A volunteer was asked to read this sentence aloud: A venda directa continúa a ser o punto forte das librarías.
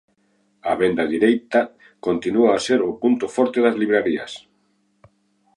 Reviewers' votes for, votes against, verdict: 1, 2, rejected